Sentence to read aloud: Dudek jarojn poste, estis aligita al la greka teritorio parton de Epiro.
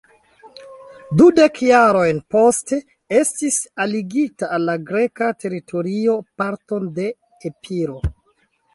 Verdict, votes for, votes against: rejected, 1, 2